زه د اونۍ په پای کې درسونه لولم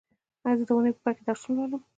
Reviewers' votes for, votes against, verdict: 2, 1, accepted